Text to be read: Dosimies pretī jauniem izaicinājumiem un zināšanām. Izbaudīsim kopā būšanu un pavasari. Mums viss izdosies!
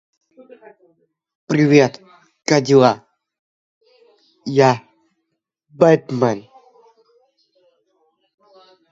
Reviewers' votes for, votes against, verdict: 0, 2, rejected